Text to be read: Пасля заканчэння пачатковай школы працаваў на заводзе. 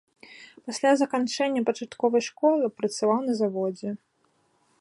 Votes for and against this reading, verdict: 2, 0, accepted